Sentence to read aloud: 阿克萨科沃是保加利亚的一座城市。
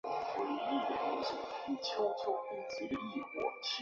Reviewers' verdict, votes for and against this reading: rejected, 0, 2